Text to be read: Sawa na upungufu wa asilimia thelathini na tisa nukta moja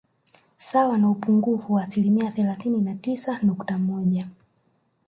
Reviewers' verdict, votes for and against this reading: accepted, 3, 0